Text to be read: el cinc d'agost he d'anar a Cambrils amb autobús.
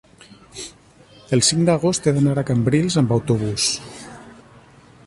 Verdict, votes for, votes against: accepted, 3, 0